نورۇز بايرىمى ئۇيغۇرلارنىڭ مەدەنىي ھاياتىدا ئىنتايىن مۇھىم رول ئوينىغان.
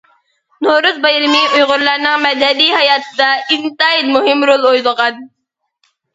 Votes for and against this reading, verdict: 1, 2, rejected